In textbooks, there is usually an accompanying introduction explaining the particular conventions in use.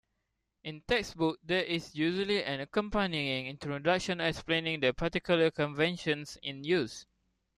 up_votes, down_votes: 2, 1